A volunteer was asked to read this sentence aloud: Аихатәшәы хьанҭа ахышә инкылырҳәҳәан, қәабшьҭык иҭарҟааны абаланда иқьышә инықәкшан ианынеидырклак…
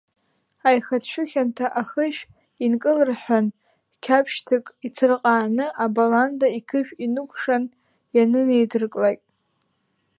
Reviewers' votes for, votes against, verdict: 0, 2, rejected